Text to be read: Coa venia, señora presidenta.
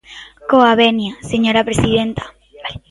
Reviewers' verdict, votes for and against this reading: rejected, 0, 2